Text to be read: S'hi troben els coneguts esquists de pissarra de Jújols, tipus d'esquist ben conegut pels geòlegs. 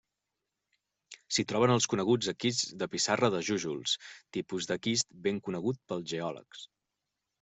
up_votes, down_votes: 1, 2